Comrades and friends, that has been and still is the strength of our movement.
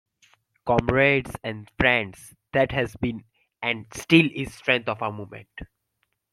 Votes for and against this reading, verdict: 1, 2, rejected